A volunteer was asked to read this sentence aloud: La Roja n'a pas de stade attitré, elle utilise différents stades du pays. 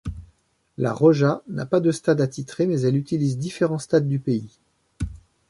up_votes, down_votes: 0, 2